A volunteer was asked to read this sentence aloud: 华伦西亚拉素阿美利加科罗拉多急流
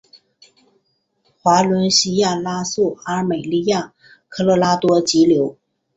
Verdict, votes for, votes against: accepted, 2, 0